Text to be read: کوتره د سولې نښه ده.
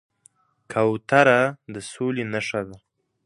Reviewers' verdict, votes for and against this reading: accepted, 2, 0